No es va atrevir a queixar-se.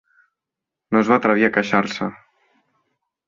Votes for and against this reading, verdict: 2, 0, accepted